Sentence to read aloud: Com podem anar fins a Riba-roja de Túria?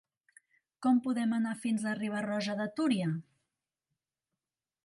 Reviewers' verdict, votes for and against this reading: accepted, 2, 0